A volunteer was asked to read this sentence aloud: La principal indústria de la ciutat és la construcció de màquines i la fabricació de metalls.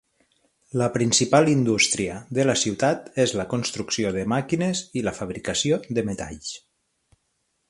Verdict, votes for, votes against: accepted, 9, 0